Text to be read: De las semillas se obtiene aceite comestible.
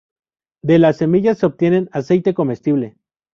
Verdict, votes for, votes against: rejected, 0, 2